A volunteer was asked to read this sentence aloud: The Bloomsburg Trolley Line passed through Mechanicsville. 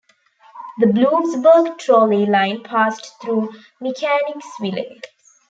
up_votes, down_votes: 2, 1